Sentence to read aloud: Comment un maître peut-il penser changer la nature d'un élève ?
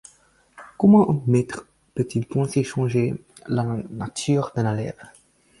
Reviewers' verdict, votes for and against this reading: accepted, 4, 0